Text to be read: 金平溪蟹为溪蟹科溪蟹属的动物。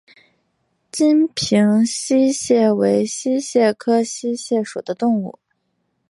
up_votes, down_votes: 4, 0